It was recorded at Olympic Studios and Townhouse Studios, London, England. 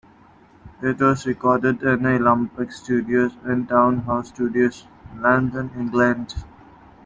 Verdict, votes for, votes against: rejected, 0, 2